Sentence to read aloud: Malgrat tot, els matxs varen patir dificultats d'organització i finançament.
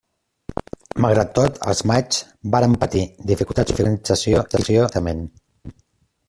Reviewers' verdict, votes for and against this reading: rejected, 0, 2